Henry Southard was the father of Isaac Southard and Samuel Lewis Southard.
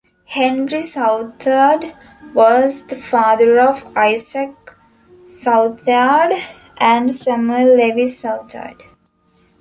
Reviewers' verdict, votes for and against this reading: rejected, 1, 2